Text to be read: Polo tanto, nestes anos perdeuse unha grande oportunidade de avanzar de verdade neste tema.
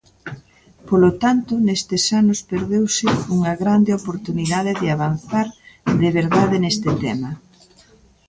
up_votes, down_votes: 1, 2